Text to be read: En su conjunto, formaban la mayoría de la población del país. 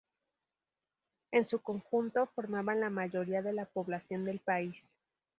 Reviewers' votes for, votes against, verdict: 4, 0, accepted